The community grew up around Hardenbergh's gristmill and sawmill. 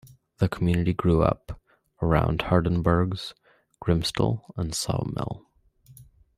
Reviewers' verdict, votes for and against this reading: rejected, 0, 2